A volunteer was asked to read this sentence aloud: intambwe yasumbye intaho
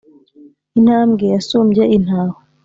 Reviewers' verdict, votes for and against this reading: accepted, 2, 0